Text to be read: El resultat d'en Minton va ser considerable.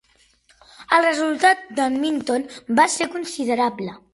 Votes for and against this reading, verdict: 3, 1, accepted